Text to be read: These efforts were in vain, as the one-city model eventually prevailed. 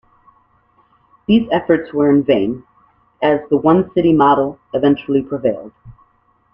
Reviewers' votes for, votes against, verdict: 2, 0, accepted